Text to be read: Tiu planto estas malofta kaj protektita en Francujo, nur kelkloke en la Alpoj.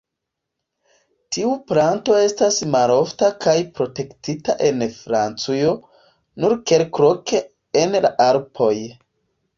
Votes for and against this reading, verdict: 2, 1, accepted